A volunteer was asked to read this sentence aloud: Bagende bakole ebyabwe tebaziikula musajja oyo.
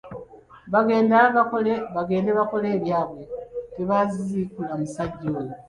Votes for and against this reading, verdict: 1, 2, rejected